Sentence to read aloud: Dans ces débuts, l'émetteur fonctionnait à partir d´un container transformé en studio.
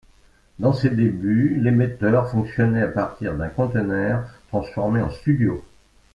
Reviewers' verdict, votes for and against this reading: rejected, 1, 2